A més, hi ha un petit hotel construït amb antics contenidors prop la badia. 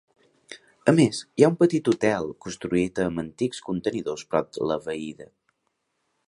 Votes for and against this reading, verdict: 1, 2, rejected